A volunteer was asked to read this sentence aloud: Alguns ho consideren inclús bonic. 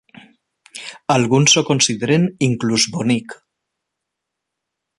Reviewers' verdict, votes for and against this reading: accepted, 3, 0